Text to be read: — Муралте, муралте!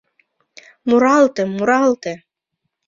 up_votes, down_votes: 2, 0